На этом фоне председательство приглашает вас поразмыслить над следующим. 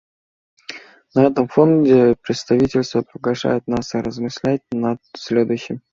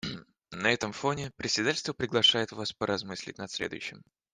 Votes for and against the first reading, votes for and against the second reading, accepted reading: 0, 2, 2, 0, second